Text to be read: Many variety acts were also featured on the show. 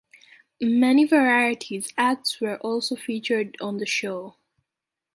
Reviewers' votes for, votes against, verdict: 2, 1, accepted